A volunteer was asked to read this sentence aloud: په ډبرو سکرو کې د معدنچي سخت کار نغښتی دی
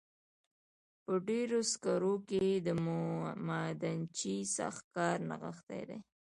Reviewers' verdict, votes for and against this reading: accepted, 2, 0